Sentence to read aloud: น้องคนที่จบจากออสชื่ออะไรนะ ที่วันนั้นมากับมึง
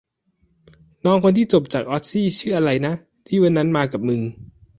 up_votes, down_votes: 1, 2